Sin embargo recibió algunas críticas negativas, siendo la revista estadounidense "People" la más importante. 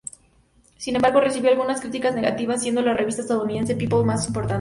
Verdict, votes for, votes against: rejected, 0, 2